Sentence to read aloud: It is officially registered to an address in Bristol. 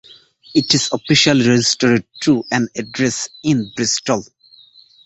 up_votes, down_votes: 1, 2